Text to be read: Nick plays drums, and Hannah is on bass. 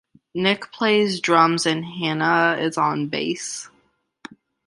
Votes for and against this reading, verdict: 2, 0, accepted